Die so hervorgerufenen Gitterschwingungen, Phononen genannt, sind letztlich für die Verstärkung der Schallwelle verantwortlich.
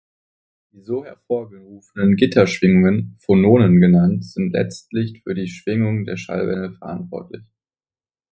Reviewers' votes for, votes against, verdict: 1, 2, rejected